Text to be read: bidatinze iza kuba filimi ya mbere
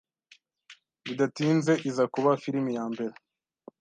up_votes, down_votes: 2, 0